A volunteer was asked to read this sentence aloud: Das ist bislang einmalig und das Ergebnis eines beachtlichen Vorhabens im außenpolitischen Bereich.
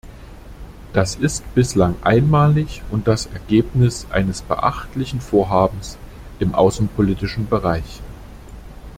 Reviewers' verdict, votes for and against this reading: accepted, 2, 0